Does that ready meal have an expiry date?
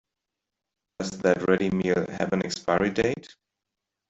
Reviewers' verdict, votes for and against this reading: rejected, 1, 2